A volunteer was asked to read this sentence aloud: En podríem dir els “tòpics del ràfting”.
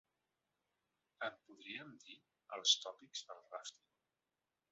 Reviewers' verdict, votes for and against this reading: rejected, 1, 2